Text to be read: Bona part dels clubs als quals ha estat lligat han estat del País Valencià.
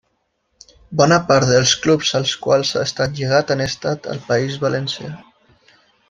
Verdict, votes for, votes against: accepted, 2, 0